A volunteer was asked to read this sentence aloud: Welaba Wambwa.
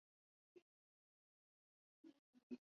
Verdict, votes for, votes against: rejected, 0, 2